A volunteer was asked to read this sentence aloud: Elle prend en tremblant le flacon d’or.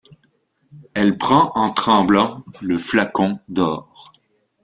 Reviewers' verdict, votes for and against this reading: accepted, 2, 0